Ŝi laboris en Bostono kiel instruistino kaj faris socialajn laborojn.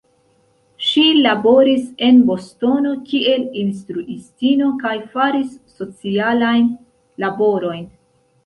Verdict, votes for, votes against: accepted, 2, 0